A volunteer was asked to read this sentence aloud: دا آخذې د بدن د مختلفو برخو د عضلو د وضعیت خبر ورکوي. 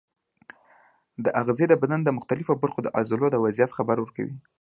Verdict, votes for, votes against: accepted, 2, 0